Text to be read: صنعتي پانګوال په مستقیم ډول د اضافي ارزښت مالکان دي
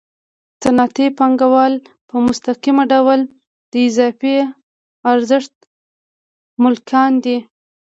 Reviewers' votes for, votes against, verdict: 1, 2, rejected